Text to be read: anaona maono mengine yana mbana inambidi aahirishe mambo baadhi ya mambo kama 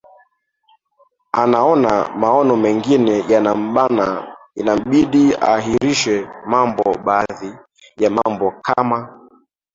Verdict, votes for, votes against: accepted, 3, 2